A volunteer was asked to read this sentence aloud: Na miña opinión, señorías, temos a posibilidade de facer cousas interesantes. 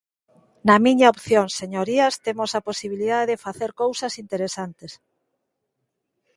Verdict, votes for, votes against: rejected, 0, 2